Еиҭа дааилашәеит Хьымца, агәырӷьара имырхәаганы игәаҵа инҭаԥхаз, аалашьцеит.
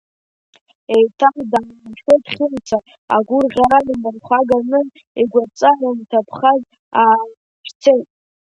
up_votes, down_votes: 0, 2